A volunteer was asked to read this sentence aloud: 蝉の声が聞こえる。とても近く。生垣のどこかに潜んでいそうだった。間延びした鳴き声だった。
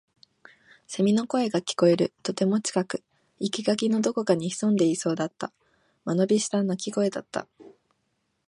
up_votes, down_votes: 3, 0